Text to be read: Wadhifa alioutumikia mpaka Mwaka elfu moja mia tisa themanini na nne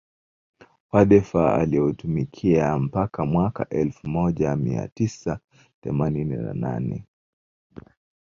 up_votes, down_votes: 4, 0